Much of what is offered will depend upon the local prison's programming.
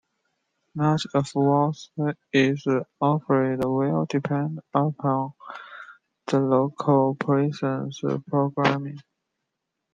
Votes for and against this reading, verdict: 0, 2, rejected